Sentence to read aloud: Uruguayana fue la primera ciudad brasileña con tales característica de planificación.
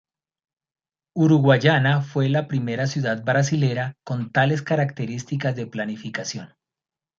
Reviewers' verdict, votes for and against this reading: rejected, 0, 2